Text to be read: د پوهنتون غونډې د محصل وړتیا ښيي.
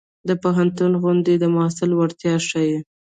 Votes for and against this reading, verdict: 1, 2, rejected